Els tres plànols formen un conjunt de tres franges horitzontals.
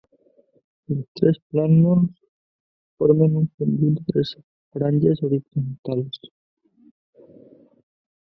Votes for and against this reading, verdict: 2, 1, accepted